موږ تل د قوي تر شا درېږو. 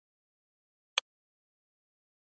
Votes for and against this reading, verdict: 0, 2, rejected